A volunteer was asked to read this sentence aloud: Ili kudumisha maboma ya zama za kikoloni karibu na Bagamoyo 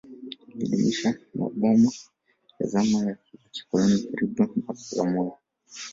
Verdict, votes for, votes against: rejected, 0, 2